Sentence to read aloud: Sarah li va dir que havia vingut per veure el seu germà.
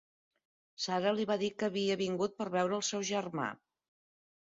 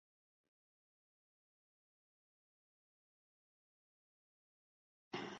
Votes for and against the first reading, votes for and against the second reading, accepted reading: 2, 0, 1, 2, first